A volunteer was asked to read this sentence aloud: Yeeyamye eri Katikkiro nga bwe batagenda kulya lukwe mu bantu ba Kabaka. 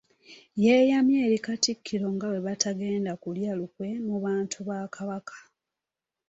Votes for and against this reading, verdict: 2, 0, accepted